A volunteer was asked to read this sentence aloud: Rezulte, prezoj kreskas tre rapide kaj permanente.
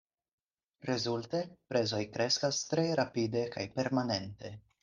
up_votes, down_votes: 4, 0